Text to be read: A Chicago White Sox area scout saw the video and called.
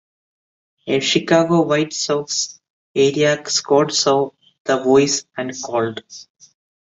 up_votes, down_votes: 0, 2